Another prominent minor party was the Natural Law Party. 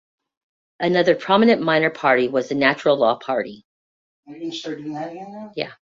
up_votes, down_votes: 0, 2